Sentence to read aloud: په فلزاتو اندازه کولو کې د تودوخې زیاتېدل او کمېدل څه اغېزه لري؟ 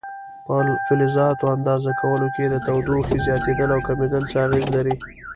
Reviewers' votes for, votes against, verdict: 1, 2, rejected